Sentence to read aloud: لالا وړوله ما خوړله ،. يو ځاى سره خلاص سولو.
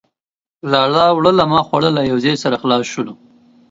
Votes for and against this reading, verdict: 2, 1, accepted